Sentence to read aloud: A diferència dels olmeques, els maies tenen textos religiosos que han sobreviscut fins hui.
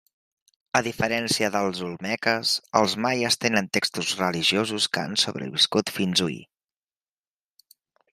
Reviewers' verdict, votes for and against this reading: accepted, 2, 0